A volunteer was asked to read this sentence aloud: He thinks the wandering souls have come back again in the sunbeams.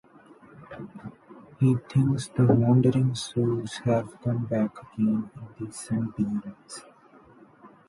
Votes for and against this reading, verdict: 0, 2, rejected